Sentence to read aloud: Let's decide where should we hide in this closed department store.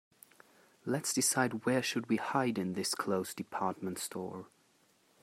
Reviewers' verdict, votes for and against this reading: accepted, 2, 0